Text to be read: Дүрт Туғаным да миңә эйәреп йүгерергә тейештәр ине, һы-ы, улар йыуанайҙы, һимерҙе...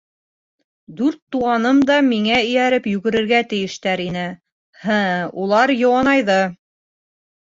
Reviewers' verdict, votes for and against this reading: rejected, 0, 3